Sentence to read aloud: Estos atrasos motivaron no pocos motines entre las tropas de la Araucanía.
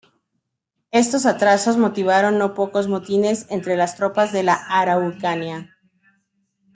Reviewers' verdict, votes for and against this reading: accepted, 2, 0